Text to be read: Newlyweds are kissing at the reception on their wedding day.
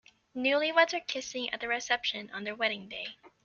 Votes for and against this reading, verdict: 2, 0, accepted